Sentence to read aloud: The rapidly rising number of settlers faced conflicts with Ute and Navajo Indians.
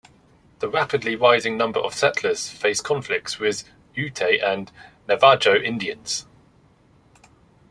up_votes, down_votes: 1, 2